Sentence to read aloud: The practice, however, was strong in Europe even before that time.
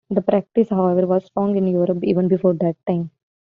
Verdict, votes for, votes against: accepted, 2, 0